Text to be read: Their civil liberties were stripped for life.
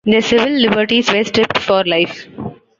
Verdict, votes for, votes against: accepted, 2, 0